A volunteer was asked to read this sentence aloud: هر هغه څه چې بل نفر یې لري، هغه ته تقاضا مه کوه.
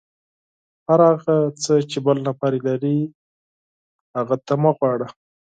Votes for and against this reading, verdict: 4, 0, accepted